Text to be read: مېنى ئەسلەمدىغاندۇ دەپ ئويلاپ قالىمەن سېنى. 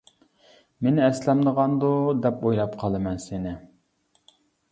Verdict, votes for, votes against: accepted, 2, 0